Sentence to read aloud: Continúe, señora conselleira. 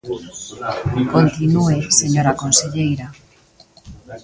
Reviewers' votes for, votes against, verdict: 0, 2, rejected